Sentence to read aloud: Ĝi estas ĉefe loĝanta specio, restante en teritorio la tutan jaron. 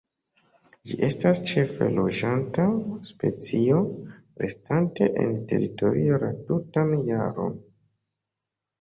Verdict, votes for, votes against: rejected, 0, 2